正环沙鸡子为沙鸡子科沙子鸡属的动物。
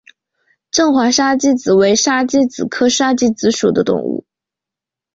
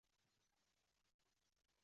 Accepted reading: first